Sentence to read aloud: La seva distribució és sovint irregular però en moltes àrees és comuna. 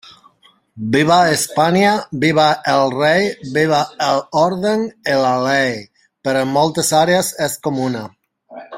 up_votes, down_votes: 0, 2